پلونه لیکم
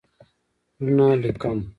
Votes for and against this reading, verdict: 0, 2, rejected